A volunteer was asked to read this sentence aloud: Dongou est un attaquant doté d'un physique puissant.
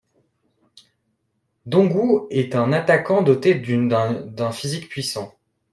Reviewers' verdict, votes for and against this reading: rejected, 1, 2